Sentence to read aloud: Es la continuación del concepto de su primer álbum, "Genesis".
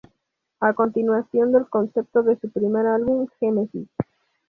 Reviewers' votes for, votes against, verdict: 0, 2, rejected